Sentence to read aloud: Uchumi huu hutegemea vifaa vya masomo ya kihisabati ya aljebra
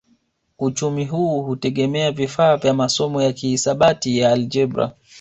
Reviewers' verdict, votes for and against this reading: rejected, 1, 2